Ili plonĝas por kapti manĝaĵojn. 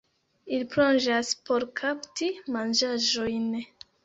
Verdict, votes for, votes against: accepted, 2, 0